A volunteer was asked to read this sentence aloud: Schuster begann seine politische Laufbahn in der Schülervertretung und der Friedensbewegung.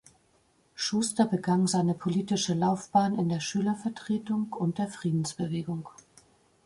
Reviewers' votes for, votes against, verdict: 2, 0, accepted